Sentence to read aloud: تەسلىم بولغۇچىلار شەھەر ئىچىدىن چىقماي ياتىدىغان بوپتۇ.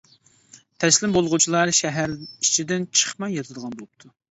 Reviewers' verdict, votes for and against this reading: accepted, 2, 0